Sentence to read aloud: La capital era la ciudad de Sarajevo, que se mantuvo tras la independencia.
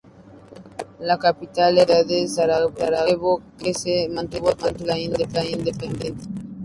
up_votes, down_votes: 2, 2